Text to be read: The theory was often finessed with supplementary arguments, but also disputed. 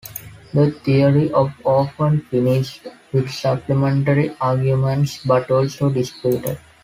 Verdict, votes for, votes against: rejected, 0, 2